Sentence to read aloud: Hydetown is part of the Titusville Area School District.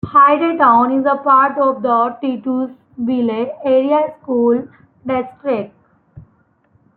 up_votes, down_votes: 0, 2